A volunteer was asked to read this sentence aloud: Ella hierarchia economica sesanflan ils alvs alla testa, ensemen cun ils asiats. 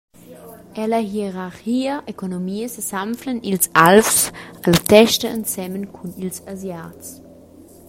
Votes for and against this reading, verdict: 0, 2, rejected